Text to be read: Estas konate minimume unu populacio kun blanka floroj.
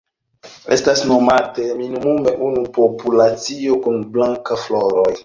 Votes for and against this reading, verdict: 0, 2, rejected